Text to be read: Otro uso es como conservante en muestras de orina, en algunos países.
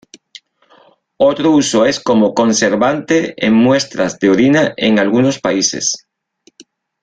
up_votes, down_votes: 1, 2